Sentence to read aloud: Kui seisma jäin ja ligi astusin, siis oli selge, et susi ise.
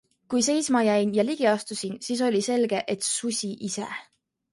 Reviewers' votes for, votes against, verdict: 2, 0, accepted